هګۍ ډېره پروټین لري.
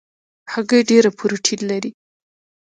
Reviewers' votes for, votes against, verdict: 1, 2, rejected